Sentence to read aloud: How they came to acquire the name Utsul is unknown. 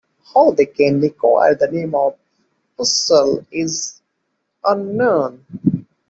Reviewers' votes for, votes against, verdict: 0, 2, rejected